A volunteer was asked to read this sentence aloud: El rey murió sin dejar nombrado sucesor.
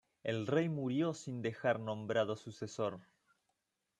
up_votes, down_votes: 2, 0